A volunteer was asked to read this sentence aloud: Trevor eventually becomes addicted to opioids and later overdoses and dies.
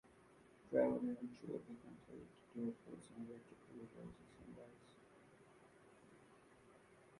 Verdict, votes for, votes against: rejected, 1, 2